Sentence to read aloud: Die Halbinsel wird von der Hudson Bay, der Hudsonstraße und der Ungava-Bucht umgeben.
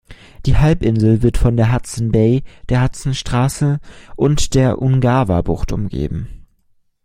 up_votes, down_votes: 2, 0